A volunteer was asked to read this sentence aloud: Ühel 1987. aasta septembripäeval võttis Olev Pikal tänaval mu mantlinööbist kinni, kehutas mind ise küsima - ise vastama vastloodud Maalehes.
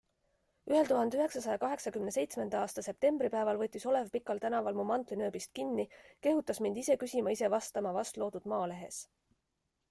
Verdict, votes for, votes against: rejected, 0, 2